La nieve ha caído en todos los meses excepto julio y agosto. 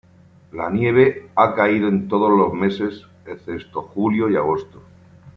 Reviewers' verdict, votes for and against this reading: rejected, 1, 2